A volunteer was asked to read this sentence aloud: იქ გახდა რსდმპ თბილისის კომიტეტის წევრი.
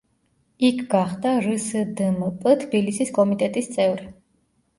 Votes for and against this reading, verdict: 2, 0, accepted